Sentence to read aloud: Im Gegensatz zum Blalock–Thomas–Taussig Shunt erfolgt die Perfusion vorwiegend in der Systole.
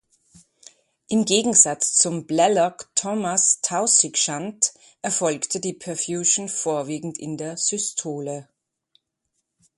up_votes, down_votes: 1, 2